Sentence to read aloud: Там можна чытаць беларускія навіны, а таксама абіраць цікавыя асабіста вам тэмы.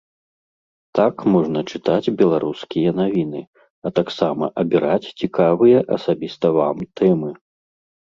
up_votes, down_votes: 0, 2